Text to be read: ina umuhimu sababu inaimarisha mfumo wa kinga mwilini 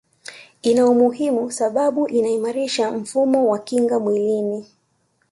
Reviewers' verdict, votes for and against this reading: accepted, 2, 1